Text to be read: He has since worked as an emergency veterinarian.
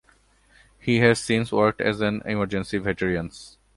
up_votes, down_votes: 0, 2